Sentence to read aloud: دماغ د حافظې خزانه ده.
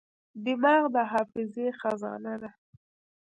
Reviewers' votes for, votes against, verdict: 0, 2, rejected